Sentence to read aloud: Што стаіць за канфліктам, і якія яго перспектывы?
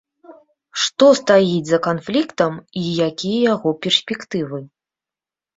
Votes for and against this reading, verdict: 2, 0, accepted